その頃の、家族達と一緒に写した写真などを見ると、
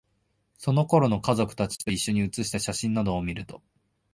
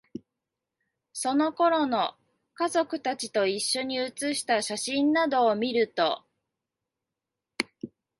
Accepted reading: first